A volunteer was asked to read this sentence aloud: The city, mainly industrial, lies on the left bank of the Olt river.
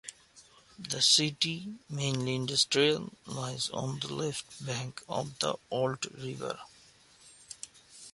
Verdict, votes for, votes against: accepted, 2, 0